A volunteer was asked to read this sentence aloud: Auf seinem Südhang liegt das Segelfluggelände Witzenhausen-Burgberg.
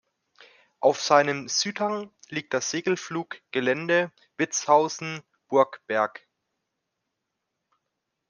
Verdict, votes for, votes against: rejected, 0, 2